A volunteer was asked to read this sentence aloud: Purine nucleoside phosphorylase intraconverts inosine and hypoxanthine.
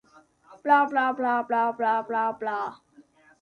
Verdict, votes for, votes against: rejected, 0, 2